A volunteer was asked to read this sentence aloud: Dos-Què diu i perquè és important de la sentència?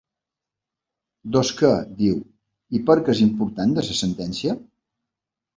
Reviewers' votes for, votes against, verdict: 1, 3, rejected